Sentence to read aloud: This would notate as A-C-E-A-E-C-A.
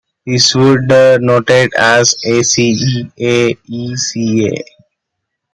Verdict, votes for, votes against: accepted, 2, 1